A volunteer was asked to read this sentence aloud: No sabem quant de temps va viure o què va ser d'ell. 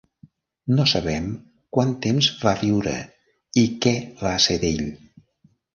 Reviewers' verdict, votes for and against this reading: rejected, 0, 4